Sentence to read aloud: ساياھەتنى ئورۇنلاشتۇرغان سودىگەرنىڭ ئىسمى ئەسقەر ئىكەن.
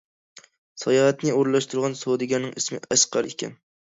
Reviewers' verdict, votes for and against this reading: accepted, 2, 0